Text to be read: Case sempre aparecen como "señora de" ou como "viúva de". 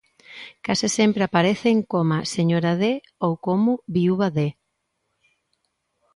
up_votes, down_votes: 1, 2